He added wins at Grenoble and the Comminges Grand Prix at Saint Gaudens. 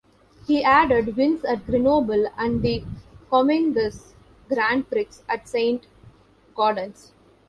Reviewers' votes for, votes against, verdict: 1, 2, rejected